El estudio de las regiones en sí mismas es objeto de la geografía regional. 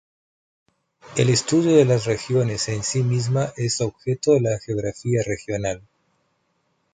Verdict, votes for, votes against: accepted, 2, 0